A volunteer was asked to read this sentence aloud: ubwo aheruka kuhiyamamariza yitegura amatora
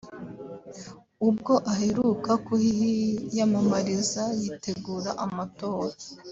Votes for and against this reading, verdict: 2, 0, accepted